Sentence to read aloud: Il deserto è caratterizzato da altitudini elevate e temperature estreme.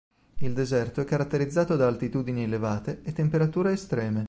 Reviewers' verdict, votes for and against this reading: accepted, 2, 0